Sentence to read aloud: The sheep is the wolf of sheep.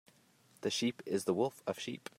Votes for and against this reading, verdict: 2, 0, accepted